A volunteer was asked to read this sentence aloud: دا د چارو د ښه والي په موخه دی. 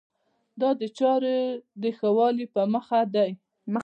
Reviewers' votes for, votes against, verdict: 2, 0, accepted